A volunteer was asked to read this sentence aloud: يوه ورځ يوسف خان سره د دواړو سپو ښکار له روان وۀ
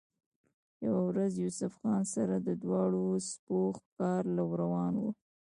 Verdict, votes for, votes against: rejected, 1, 2